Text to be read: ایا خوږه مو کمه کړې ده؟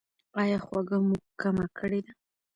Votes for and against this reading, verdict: 0, 2, rejected